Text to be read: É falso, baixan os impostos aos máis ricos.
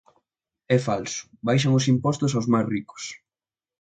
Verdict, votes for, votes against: accepted, 2, 0